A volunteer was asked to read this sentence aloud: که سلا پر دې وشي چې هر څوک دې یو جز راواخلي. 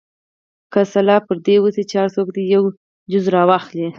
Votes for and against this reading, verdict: 2, 4, rejected